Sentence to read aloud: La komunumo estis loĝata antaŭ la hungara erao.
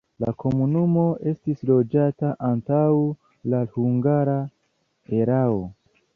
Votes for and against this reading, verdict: 2, 1, accepted